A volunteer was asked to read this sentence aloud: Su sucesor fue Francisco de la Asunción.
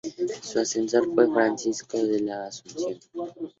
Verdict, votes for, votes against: rejected, 0, 2